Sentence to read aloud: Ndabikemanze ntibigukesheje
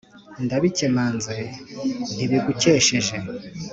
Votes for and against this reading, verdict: 3, 0, accepted